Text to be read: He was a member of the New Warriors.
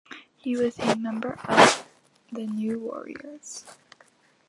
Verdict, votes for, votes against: accepted, 2, 1